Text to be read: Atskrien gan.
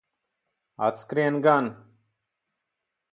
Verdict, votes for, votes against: accepted, 6, 0